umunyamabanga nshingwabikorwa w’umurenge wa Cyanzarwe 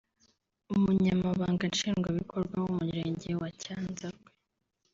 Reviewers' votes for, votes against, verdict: 2, 3, rejected